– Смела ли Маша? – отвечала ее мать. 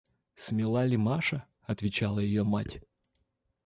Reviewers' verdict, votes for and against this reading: rejected, 1, 2